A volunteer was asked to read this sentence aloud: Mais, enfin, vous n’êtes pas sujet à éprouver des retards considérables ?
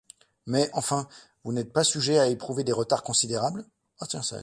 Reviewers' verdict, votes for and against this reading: rejected, 0, 2